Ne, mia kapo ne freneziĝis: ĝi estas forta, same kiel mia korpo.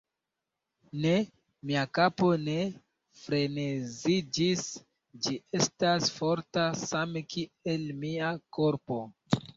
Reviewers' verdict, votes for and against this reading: rejected, 0, 2